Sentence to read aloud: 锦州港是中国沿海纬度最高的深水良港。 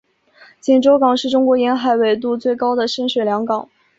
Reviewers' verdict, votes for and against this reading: accepted, 3, 0